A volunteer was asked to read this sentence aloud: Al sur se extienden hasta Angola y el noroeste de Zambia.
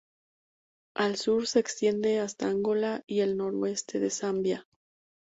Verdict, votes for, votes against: rejected, 0, 2